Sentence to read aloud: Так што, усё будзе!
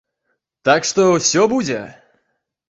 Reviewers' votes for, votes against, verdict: 2, 0, accepted